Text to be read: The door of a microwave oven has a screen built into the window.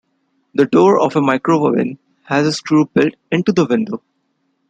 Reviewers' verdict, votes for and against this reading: rejected, 1, 2